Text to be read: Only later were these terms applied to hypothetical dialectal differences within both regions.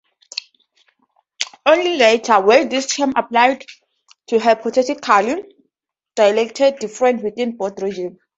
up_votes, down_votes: 0, 2